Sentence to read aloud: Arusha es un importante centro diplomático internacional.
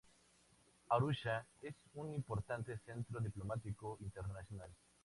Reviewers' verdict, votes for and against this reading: accepted, 2, 0